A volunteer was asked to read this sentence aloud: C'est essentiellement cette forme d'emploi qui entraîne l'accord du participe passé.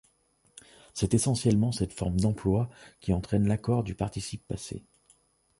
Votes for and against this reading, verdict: 2, 0, accepted